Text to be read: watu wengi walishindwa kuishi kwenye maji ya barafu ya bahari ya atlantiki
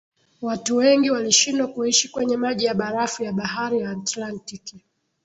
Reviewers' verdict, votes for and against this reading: rejected, 1, 2